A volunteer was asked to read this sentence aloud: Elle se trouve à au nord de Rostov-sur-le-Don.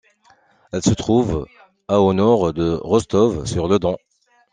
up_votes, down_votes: 2, 1